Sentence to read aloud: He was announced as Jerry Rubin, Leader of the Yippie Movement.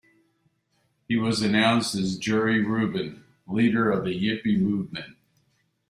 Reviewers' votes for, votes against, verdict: 2, 0, accepted